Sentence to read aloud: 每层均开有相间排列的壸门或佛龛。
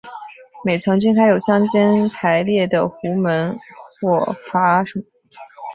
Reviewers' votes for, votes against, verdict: 0, 2, rejected